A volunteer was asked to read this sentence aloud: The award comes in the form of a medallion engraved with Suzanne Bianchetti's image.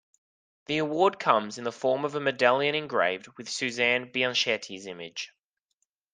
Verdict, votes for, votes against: accepted, 2, 0